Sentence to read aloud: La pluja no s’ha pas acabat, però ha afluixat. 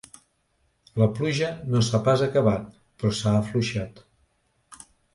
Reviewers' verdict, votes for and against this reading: rejected, 1, 2